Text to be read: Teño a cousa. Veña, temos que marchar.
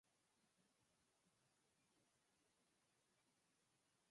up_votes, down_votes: 0, 6